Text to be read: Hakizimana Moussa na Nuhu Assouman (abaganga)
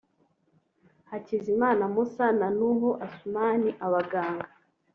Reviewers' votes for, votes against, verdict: 3, 0, accepted